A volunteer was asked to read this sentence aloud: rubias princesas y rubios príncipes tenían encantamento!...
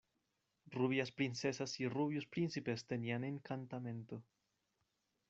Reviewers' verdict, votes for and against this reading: rejected, 0, 2